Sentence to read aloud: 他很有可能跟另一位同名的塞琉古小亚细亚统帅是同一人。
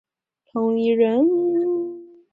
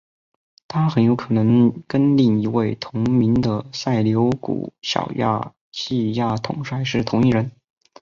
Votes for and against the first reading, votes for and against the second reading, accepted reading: 0, 3, 2, 0, second